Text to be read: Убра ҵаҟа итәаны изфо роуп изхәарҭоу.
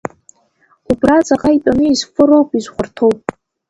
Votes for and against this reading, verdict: 2, 0, accepted